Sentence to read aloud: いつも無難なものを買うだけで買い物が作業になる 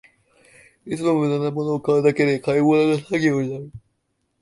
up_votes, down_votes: 0, 2